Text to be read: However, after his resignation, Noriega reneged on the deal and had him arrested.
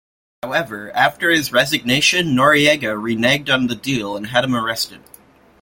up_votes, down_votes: 2, 0